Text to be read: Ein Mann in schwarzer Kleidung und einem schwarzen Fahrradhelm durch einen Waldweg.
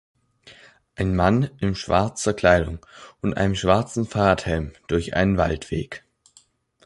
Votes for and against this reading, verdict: 2, 0, accepted